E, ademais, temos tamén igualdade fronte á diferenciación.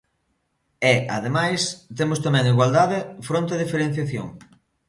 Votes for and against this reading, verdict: 2, 0, accepted